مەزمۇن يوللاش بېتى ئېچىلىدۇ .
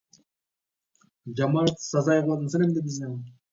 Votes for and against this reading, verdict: 0, 2, rejected